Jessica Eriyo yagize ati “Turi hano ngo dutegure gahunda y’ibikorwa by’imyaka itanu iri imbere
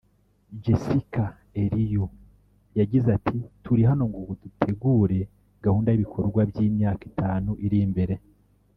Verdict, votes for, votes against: rejected, 1, 2